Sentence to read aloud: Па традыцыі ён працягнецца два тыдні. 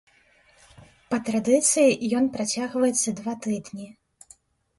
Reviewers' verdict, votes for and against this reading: rejected, 0, 2